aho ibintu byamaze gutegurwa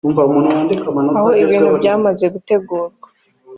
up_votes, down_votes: 2, 0